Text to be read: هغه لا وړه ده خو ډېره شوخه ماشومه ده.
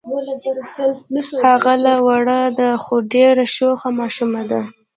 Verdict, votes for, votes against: rejected, 1, 3